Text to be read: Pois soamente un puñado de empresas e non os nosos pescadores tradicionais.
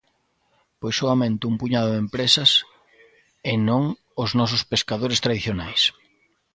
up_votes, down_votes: 2, 0